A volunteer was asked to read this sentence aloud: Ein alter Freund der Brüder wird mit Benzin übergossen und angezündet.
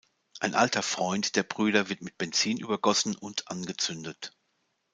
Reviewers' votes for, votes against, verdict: 2, 0, accepted